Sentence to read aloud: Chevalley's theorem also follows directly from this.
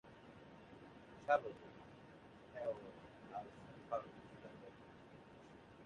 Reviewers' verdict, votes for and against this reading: rejected, 0, 2